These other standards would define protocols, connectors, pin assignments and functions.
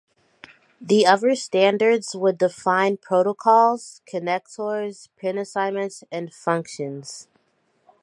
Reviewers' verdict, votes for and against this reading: rejected, 1, 2